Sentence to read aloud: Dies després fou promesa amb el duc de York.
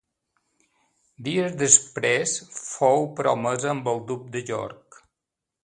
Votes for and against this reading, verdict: 2, 0, accepted